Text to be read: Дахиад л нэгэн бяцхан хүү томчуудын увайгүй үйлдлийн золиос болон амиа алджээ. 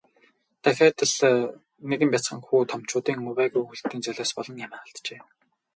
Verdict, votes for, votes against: rejected, 2, 2